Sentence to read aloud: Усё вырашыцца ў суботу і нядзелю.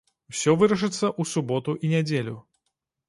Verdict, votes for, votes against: accepted, 2, 0